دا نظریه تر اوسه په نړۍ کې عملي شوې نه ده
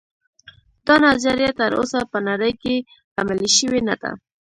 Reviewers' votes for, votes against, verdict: 1, 2, rejected